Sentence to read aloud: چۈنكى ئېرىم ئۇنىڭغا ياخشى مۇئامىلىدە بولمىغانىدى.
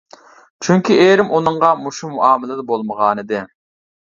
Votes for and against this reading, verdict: 0, 2, rejected